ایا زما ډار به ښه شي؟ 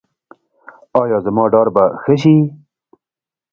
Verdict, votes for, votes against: rejected, 1, 2